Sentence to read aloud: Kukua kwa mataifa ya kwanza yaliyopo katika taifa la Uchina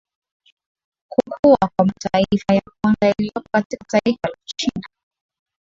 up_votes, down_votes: 0, 2